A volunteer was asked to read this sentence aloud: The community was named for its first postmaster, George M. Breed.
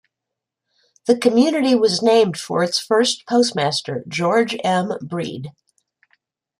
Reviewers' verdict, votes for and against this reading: accepted, 2, 1